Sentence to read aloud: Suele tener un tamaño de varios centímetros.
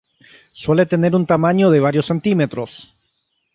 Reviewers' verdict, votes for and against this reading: accepted, 6, 0